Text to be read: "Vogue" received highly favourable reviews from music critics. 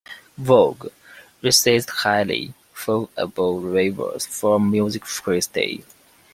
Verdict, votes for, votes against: rejected, 1, 2